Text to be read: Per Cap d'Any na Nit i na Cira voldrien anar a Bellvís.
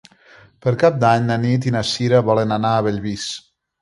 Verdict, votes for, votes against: rejected, 1, 2